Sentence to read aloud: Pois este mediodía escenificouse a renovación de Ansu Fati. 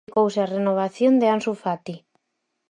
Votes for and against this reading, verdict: 0, 4, rejected